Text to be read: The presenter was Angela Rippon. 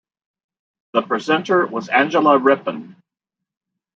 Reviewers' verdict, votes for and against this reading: accepted, 2, 0